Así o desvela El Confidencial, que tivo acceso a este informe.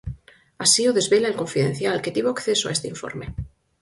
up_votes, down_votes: 4, 0